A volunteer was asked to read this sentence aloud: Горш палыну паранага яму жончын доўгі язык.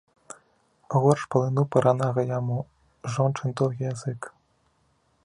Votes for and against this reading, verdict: 0, 4, rejected